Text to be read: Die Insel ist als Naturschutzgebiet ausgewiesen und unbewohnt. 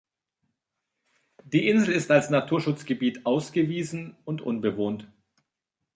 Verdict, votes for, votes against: accepted, 2, 0